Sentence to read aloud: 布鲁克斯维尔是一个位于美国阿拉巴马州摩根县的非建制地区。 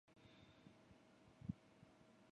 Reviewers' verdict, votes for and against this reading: rejected, 0, 3